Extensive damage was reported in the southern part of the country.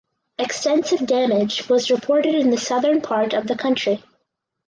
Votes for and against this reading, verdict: 4, 0, accepted